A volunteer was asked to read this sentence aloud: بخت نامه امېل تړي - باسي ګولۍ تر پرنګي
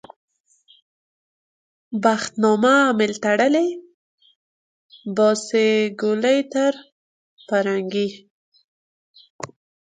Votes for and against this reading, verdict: 1, 2, rejected